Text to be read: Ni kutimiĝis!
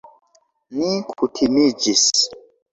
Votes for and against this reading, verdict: 1, 2, rejected